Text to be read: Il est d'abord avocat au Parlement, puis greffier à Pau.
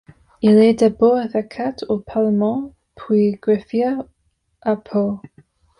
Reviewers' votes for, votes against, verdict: 2, 0, accepted